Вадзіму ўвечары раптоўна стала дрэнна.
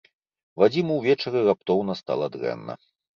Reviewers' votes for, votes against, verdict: 2, 0, accepted